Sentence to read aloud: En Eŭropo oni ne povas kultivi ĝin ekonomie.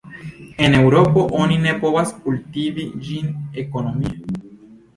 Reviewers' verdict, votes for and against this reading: accepted, 2, 0